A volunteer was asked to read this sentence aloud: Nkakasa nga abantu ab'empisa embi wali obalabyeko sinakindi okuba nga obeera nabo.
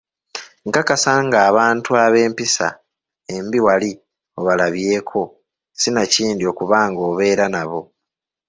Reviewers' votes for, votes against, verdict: 1, 2, rejected